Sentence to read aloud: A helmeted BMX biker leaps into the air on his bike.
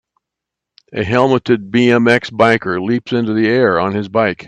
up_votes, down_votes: 2, 0